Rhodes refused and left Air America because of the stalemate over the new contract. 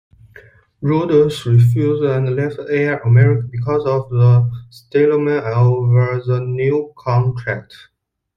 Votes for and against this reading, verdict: 1, 2, rejected